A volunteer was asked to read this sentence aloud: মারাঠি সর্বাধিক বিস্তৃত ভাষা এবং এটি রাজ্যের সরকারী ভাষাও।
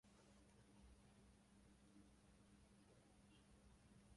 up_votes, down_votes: 0, 3